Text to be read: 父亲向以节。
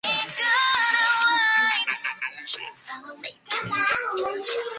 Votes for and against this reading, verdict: 0, 2, rejected